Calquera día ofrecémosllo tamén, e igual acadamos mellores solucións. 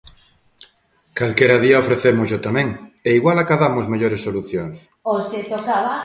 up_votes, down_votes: 0, 2